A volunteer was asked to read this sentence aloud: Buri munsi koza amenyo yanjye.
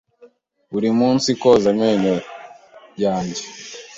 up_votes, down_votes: 2, 0